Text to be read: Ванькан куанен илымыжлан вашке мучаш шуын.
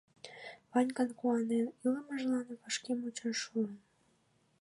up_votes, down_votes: 2, 1